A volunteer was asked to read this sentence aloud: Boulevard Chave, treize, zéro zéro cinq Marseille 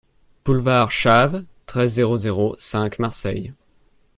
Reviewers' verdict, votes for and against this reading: accepted, 2, 0